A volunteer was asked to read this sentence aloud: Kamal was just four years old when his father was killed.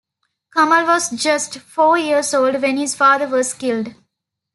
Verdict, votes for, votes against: accepted, 2, 0